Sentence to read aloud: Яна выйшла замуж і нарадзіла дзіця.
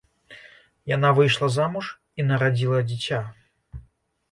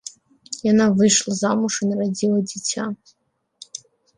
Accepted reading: first